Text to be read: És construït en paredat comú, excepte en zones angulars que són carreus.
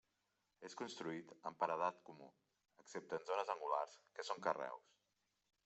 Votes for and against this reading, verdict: 0, 2, rejected